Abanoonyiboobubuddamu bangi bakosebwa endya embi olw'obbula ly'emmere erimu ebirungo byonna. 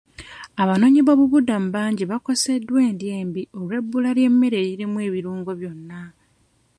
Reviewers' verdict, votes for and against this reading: rejected, 1, 2